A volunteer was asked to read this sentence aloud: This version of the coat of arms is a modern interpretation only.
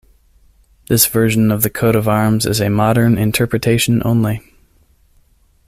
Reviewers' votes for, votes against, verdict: 2, 0, accepted